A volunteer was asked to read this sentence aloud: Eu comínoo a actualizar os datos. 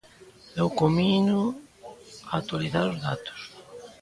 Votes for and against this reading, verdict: 3, 0, accepted